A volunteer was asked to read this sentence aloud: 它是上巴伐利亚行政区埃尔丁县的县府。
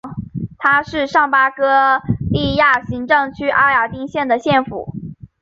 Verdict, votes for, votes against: accepted, 2, 0